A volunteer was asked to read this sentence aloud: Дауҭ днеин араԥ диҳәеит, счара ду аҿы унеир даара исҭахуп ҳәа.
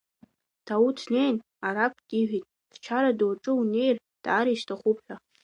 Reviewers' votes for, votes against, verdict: 0, 2, rejected